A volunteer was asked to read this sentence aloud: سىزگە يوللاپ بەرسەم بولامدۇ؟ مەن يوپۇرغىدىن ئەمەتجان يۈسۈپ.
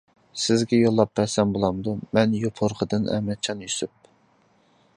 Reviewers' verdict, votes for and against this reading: accepted, 2, 1